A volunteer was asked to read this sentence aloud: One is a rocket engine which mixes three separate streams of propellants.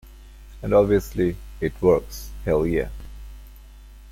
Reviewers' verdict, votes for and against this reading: rejected, 0, 2